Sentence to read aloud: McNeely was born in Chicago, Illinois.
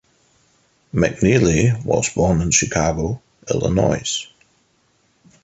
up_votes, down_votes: 2, 1